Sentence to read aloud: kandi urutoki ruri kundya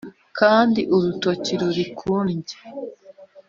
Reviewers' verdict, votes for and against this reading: accepted, 3, 0